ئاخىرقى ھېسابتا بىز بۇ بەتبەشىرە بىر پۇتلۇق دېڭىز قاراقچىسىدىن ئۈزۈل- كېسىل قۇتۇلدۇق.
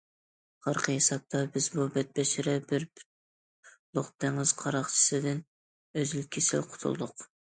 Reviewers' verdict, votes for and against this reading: rejected, 1, 2